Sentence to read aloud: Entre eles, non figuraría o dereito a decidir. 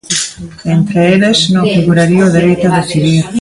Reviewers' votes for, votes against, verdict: 2, 1, accepted